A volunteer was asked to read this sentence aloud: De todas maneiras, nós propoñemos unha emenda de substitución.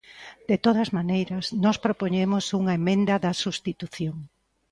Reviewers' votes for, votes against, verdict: 1, 2, rejected